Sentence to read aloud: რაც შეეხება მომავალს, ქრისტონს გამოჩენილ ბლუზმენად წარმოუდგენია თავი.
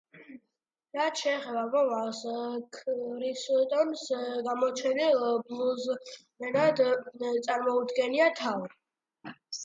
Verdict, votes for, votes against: accepted, 2, 1